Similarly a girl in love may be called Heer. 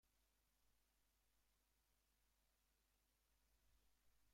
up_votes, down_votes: 0, 2